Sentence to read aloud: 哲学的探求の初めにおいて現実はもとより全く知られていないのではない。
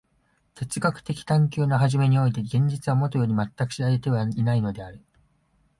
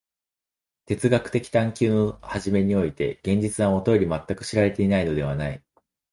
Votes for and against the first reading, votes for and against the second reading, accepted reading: 0, 2, 2, 0, second